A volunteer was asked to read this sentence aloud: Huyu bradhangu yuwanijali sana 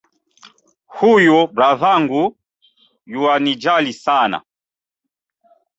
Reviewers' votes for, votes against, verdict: 2, 1, accepted